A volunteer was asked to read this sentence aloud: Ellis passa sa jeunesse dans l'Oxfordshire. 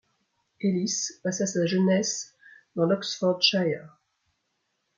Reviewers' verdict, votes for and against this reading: accepted, 2, 0